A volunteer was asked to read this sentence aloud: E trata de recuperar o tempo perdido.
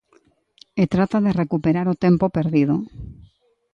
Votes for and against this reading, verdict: 2, 0, accepted